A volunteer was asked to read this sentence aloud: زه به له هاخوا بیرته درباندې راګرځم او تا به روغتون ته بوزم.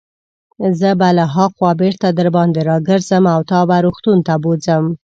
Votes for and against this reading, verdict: 2, 0, accepted